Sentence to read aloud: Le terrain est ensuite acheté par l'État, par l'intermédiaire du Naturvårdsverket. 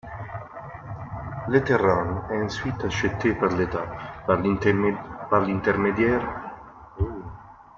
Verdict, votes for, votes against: rejected, 0, 2